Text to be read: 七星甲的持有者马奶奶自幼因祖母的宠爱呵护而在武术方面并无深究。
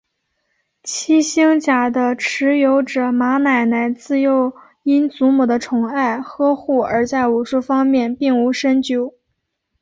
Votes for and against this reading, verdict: 2, 1, accepted